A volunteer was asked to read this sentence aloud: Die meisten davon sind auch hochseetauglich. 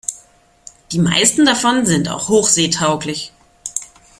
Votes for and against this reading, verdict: 2, 0, accepted